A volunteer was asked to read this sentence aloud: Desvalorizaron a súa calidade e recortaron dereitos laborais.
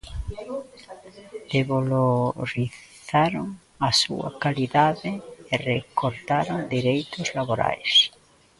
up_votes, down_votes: 1, 2